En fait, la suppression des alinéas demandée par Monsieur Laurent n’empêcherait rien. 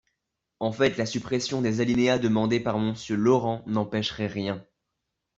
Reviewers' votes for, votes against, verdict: 1, 2, rejected